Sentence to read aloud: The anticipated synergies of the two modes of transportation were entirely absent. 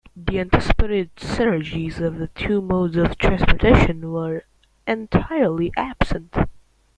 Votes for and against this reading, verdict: 2, 0, accepted